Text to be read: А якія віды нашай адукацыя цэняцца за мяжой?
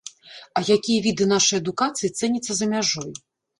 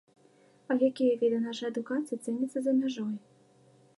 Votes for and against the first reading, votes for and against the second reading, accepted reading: 1, 2, 2, 1, second